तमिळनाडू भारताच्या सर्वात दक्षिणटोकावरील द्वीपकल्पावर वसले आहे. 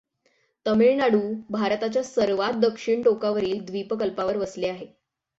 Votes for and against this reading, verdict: 6, 0, accepted